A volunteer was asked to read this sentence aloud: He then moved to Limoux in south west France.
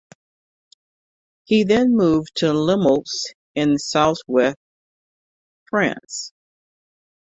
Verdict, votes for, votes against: rejected, 1, 2